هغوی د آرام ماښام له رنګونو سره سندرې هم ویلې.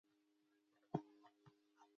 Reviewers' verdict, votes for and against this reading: accepted, 2, 0